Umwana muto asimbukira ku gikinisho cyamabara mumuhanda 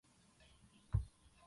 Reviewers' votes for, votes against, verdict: 0, 2, rejected